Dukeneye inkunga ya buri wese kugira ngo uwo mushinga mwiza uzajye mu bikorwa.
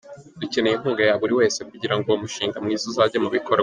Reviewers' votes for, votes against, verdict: 1, 2, rejected